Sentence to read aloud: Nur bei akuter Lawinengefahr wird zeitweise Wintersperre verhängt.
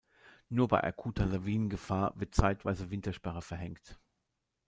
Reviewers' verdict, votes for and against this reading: accepted, 2, 0